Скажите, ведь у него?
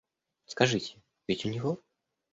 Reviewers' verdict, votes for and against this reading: accepted, 2, 0